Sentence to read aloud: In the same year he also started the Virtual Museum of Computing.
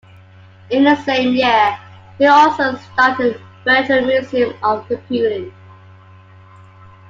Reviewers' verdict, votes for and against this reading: accepted, 2, 0